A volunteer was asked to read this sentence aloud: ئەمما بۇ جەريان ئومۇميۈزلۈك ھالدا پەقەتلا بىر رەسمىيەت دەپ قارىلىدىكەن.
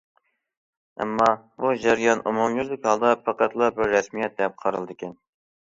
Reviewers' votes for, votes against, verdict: 2, 0, accepted